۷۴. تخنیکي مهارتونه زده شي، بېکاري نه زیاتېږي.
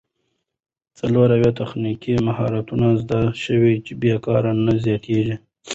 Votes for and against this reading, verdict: 0, 2, rejected